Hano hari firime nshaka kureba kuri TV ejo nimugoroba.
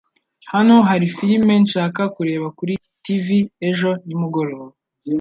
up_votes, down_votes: 2, 0